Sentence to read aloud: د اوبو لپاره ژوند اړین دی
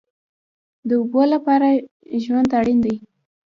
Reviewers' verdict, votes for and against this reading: rejected, 1, 2